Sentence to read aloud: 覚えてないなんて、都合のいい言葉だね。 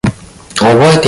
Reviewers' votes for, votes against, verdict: 0, 2, rejected